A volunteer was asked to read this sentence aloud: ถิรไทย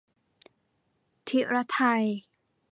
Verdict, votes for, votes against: accepted, 2, 0